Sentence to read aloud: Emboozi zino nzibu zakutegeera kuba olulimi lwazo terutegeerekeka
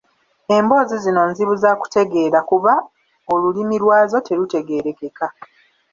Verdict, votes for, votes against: rejected, 0, 2